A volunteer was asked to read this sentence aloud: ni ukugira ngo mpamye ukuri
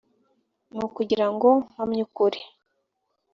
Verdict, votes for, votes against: accepted, 2, 0